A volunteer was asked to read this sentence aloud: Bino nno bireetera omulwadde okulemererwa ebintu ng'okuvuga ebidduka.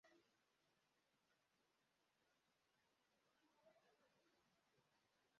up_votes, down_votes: 0, 2